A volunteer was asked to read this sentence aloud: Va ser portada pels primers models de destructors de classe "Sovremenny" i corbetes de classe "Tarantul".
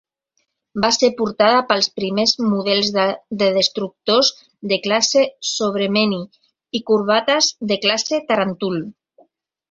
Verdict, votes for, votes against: rejected, 1, 2